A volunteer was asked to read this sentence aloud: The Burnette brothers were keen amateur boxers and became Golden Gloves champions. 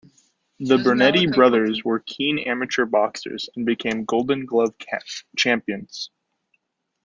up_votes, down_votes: 1, 2